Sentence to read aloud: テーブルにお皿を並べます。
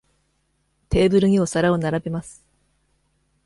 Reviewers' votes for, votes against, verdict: 2, 0, accepted